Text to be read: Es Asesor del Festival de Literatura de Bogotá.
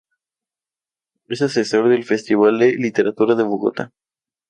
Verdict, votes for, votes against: accepted, 2, 0